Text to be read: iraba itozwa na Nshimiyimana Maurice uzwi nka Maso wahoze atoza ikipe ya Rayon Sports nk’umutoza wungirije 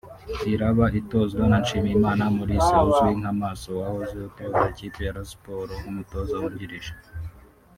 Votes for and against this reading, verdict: 1, 2, rejected